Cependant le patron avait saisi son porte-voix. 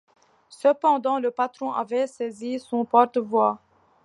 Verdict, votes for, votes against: accepted, 2, 0